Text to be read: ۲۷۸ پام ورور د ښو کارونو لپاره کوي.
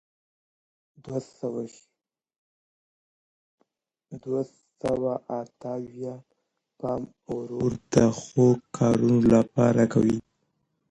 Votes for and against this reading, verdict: 0, 2, rejected